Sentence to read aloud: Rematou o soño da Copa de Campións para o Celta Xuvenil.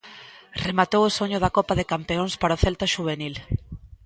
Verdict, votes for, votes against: rejected, 1, 2